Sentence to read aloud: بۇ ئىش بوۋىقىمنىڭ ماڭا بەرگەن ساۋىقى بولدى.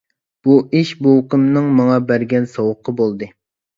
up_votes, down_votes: 0, 2